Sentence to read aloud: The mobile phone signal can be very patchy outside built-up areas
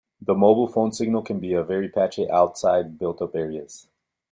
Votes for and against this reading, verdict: 0, 2, rejected